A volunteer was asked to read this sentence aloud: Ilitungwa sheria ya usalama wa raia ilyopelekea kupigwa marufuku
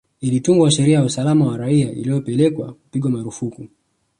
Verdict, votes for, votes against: accepted, 2, 1